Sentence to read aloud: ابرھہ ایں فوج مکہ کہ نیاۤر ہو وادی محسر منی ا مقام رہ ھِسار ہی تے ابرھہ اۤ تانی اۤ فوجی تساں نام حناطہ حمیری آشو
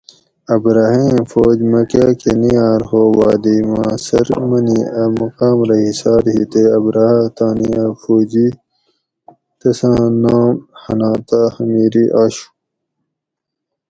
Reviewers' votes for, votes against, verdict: 4, 0, accepted